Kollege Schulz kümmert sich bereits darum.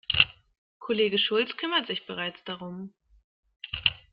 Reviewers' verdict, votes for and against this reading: accepted, 2, 0